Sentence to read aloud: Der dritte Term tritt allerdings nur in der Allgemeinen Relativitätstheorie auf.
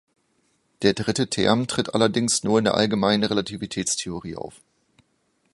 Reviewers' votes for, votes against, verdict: 2, 0, accepted